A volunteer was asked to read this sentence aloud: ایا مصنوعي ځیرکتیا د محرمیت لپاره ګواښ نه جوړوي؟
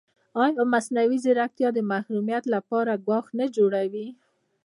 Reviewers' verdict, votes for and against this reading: rejected, 0, 2